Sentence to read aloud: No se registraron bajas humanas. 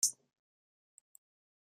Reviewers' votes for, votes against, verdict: 0, 2, rejected